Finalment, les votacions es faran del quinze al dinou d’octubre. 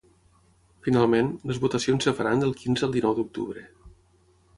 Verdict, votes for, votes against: rejected, 0, 3